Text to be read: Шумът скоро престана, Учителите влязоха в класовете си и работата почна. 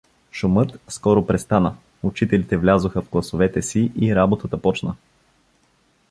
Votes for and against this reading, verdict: 2, 0, accepted